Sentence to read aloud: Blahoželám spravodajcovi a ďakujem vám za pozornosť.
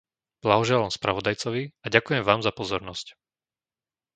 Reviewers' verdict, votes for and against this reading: accepted, 2, 0